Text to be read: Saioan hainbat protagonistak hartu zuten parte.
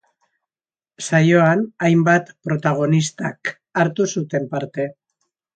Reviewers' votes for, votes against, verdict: 2, 0, accepted